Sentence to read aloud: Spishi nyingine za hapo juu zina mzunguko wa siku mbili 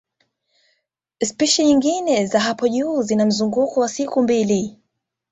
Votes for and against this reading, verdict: 2, 1, accepted